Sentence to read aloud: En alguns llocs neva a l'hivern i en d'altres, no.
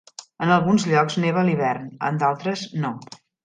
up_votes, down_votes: 0, 2